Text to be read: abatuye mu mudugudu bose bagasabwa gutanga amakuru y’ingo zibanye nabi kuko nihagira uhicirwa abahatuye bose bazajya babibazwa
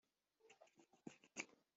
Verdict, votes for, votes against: rejected, 0, 2